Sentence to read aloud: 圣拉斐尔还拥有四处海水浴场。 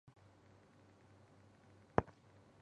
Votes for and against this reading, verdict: 1, 2, rejected